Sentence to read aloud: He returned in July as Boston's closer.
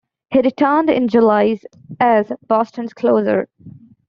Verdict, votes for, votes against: rejected, 1, 2